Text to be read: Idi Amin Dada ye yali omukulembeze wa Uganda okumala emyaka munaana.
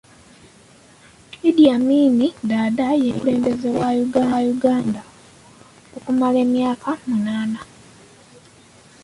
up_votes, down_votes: 0, 2